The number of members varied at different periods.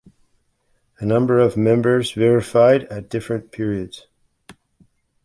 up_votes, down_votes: 1, 2